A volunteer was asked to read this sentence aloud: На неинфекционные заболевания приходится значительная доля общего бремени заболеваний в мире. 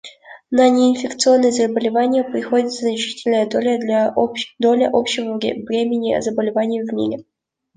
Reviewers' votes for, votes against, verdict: 0, 2, rejected